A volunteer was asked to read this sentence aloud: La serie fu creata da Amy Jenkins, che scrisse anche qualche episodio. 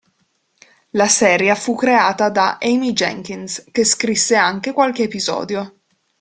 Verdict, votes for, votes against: rejected, 1, 2